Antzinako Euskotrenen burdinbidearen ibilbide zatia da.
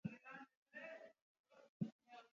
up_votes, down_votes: 0, 2